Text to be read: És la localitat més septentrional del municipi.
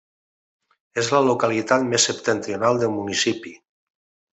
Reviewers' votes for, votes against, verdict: 2, 0, accepted